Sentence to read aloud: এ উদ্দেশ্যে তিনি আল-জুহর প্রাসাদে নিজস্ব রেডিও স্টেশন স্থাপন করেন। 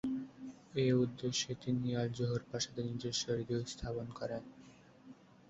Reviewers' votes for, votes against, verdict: 3, 5, rejected